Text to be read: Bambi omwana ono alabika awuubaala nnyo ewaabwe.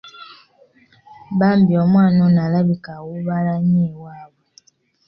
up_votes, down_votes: 2, 0